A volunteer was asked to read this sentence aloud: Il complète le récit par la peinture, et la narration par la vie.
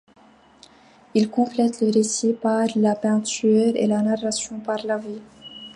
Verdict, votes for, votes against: accepted, 2, 0